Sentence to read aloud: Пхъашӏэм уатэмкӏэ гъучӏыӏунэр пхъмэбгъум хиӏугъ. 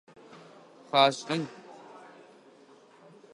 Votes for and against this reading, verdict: 1, 2, rejected